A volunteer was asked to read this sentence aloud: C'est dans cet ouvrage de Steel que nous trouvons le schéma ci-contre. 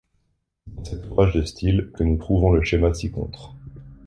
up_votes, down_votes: 1, 2